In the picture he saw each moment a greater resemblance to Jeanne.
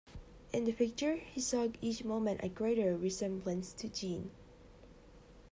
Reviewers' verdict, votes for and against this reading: accepted, 2, 1